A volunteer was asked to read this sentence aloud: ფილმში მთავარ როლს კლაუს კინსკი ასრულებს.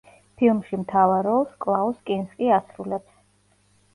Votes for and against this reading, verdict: 2, 0, accepted